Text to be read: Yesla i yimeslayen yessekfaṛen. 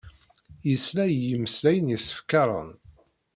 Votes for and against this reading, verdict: 0, 2, rejected